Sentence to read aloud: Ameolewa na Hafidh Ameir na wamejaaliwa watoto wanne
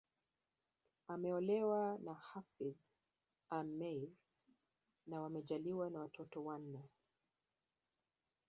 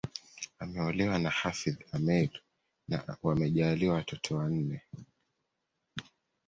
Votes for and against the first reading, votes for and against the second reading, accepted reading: 2, 0, 1, 2, first